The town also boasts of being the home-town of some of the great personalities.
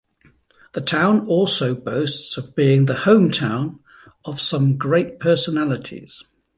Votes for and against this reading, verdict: 0, 2, rejected